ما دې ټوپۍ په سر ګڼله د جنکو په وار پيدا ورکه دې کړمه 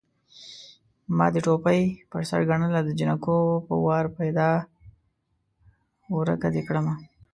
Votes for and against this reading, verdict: 1, 2, rejected